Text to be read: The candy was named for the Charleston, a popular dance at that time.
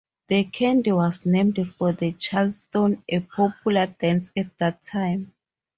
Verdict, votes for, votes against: accepted, 2, 0